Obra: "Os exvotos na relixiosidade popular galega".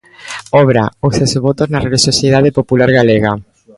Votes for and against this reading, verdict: 2, 0, accepted